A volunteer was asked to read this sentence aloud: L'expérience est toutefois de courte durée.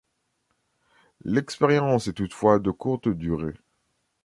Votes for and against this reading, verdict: 2, 0, accepted